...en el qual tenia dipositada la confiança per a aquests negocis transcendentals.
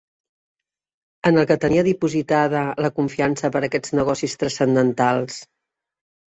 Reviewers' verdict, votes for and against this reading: rejected, 1, 2